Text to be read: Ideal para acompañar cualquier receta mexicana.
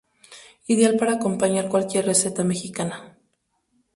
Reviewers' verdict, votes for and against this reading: accepted, 2, 0